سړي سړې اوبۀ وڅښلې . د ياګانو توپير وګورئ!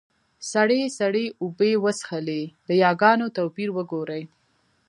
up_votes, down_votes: 2, 0